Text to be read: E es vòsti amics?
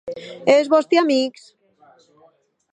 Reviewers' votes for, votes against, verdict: 2, 0, accepted